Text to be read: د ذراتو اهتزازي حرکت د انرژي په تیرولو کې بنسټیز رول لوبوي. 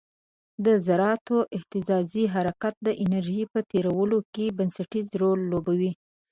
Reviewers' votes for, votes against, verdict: 2, 0, accepted